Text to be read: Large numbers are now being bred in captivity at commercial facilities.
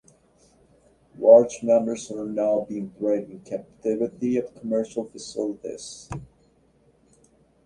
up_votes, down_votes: 2, 0